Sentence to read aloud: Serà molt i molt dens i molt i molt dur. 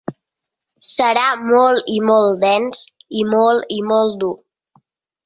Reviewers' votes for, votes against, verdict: 2, 0, accepted